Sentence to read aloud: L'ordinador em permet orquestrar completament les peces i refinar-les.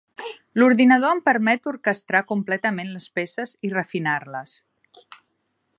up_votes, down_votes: 3, 0